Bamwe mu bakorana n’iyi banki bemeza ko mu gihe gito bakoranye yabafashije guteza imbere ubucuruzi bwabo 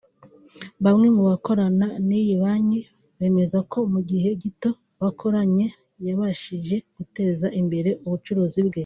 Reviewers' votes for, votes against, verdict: 1, 2, rejected